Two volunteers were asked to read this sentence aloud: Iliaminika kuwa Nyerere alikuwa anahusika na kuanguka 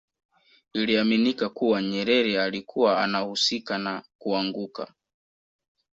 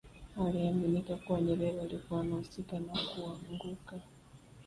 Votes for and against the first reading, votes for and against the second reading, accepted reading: 2, 0, 0, 2, first